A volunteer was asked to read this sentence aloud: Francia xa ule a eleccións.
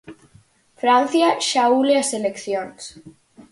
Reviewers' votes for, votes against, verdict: 0, 4, rejected